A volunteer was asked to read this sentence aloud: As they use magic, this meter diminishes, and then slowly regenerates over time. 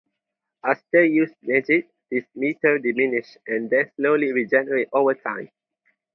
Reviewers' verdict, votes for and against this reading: rejected, 2, 2